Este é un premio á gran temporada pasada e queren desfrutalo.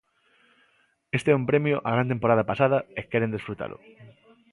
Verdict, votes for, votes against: accepted, 2, 0